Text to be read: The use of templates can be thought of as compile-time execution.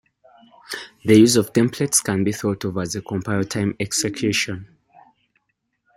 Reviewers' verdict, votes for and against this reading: rejected, 1, 2